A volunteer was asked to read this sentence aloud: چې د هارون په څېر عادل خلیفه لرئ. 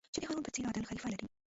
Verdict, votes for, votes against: rejected, 1, 2